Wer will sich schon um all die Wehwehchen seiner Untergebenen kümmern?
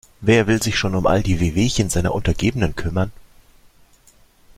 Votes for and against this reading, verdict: 2, 0, accepted